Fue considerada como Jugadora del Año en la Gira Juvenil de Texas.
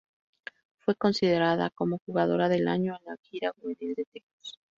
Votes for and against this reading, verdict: 0, 2, rejected